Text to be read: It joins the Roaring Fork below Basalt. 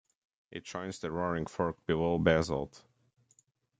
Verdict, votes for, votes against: rejected, 1, 2